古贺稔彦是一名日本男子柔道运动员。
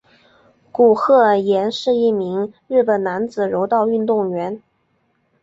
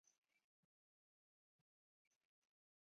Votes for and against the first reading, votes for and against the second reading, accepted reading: 2, 0, 0, 6, first